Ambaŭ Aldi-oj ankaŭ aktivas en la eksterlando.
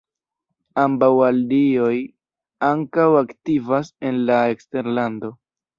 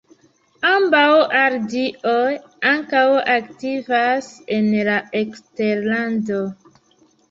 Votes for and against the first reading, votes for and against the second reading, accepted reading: 1, 2, 2, 1, second